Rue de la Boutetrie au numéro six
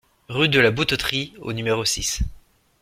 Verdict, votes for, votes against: accepted, 2, 0